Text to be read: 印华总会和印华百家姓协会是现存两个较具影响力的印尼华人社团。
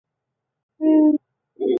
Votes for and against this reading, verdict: 0, 5, rejected